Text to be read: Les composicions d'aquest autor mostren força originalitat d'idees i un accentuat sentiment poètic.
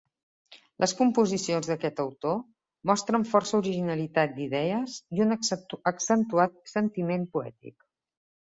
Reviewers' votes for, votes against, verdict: 2, 3, rejected